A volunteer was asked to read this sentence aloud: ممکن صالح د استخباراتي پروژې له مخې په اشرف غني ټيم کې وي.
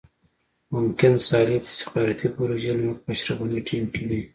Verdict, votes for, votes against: accepted, 2, 0